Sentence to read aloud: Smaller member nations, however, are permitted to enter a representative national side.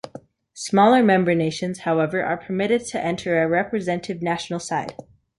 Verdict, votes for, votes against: rejected, 1, 2